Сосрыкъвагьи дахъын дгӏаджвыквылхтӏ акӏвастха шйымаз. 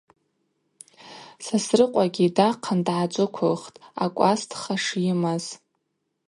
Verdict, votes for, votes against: accepted, 2, 0